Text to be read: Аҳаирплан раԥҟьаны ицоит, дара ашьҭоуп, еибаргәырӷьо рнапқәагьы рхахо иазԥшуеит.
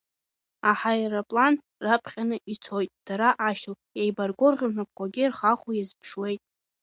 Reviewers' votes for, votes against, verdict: 1, 2, rejected